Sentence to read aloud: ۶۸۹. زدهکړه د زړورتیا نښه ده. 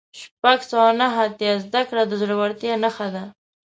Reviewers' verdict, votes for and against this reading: rejected, 0, 2